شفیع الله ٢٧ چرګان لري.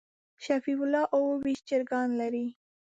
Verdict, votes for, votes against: rejected, 0, 2